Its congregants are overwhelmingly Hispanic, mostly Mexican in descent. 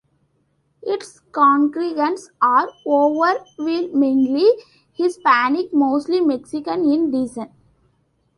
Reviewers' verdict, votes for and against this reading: rejected, 0, 2